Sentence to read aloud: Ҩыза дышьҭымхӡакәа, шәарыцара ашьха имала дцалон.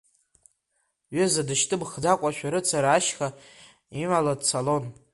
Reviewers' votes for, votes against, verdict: 2, 0, accepted